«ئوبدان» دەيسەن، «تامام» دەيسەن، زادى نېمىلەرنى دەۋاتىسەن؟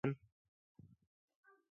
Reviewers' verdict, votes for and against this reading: rejected, 0, 2